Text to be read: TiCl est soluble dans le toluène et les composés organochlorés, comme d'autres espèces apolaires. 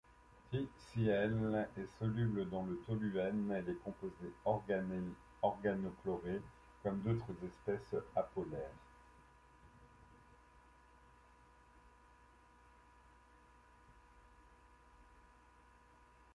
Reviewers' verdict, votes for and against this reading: rejected, 0, 2